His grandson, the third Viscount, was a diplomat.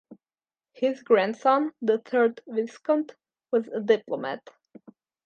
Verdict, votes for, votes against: accepted, 2, 0